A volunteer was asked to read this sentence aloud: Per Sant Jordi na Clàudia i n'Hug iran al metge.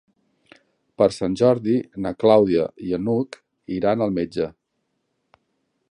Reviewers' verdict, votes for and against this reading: rejected, 1, 2